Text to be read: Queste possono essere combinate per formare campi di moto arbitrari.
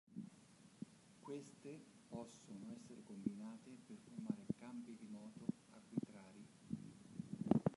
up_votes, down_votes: 1, 2